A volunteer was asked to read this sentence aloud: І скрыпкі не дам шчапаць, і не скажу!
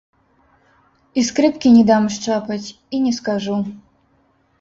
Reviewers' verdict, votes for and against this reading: rejected, 0, 2